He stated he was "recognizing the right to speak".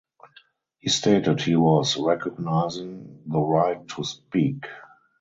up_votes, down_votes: 2, 2